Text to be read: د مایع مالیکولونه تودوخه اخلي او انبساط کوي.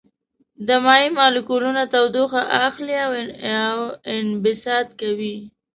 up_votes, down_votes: 2, 0